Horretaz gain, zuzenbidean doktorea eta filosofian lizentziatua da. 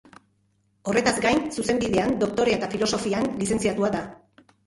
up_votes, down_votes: 0, 2